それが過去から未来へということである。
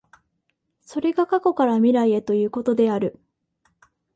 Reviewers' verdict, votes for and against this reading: accepted, 2, 0